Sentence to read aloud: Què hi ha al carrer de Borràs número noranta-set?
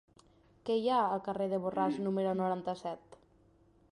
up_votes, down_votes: 3, 0